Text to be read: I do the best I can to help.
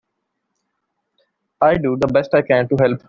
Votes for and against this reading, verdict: 2, 0, accepted